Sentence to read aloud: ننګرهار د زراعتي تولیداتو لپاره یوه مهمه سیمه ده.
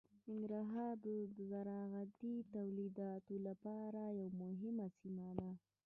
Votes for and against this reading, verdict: 1, 2, rejected